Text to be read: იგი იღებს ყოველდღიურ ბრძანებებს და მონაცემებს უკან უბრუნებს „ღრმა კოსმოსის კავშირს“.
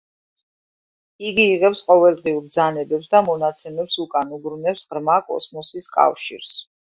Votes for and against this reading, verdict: 2, 0, accepted